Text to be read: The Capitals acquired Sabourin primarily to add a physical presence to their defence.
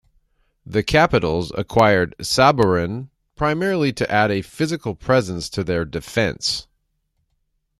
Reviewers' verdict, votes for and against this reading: accepted, 2, 0